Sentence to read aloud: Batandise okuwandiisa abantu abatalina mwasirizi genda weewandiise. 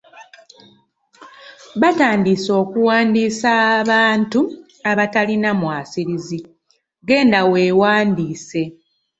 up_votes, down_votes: 0, 2